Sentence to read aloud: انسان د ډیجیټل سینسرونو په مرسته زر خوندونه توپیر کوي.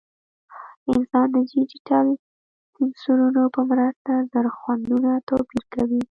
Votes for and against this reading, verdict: 0, 2, rejected